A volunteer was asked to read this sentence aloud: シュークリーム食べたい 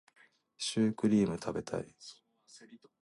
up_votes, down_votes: 2, 0